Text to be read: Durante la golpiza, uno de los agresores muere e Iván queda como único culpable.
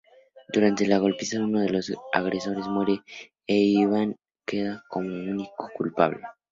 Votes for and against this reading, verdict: 2, 0, accepted